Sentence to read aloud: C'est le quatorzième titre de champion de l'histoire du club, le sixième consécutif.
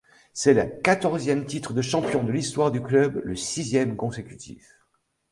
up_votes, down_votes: 0, 2